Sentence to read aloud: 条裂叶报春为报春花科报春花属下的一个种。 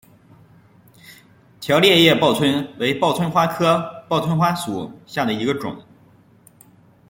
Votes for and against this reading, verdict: 1, 2, rejected